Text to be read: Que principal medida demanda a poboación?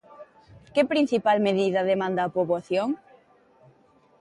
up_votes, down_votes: 2, 0